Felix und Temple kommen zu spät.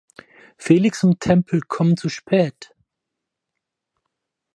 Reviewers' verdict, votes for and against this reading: accepted, 4, 0